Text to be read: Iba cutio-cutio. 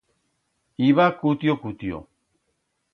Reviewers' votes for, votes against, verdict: 2, 0, accepted